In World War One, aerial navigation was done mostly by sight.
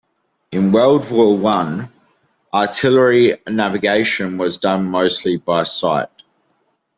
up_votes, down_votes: 0, 2